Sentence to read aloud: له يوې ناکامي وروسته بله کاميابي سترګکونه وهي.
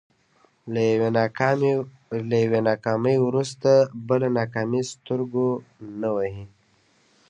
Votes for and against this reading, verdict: 0, 2, rejected